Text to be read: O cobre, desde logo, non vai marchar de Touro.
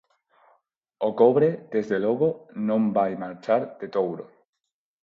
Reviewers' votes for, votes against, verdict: 4, 0, accepted